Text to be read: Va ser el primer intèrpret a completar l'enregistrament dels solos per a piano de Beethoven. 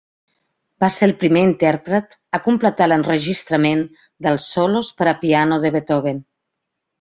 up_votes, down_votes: 3, 0